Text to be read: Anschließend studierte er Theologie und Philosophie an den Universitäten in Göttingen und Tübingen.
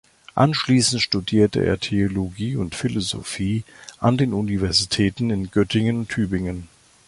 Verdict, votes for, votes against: rejected, 1, 2